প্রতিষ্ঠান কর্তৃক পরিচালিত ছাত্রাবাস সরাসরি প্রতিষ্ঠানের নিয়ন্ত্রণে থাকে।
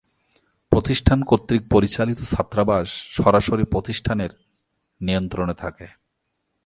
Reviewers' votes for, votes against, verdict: 2, 0, accepted